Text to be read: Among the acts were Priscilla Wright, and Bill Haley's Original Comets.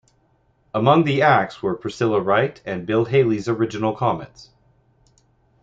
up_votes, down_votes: 2, 0